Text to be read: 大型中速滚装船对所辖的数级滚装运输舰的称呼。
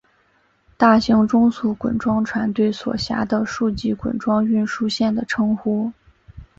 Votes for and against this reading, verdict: 4, 1, accepted